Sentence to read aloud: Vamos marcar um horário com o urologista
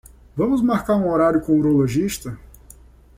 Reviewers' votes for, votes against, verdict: 2, 0, accepted